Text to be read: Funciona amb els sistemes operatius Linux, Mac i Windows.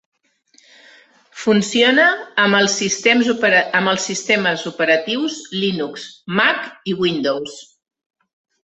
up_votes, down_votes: 3, 0